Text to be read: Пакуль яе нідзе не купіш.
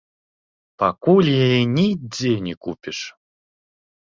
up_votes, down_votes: 1, 2